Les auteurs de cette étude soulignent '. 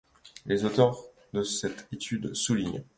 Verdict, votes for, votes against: accepted, 2, 0